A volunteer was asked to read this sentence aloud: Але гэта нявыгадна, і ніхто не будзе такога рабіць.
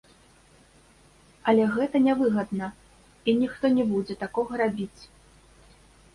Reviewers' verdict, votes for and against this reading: accepted, 2, 1